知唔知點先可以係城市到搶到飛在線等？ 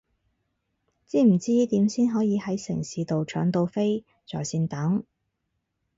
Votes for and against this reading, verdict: 0, 2, rejected